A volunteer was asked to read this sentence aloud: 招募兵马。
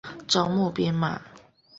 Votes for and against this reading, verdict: 3, 0, accepted